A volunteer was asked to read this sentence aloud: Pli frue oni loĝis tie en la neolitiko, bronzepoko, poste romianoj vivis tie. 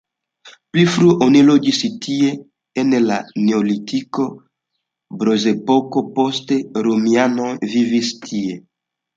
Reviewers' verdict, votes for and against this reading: rejected, 0, 2